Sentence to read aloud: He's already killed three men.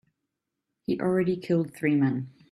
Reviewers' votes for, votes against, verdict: 2, 3, rejected